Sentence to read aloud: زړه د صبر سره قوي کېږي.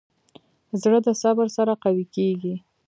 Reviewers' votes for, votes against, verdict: 1, 2, rejected